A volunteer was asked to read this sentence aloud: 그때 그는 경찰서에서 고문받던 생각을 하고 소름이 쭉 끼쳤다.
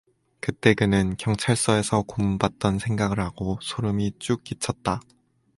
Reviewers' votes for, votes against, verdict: 4, 0, accepted